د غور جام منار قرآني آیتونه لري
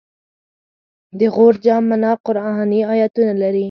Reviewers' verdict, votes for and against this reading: accepted, 4, 0